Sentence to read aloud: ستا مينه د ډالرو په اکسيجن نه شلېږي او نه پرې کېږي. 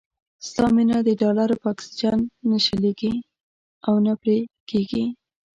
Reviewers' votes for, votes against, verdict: 2, 0, accepted